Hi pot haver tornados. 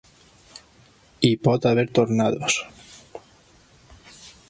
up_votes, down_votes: 3, 0